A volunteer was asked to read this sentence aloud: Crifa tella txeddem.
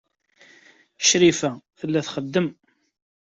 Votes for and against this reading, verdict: 2, 0, accepted